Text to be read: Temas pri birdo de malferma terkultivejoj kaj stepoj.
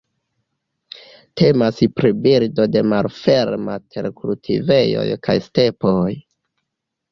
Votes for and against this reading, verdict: 0, 2, rejected